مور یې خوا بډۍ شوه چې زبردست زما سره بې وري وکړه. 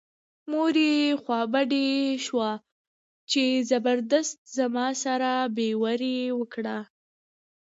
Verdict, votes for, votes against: rejected, 1, 2